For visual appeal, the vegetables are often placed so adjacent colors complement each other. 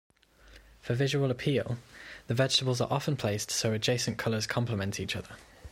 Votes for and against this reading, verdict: 2, 0, accepted